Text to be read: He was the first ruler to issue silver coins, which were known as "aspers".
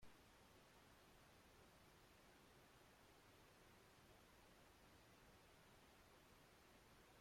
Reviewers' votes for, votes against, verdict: 0, 2, rejected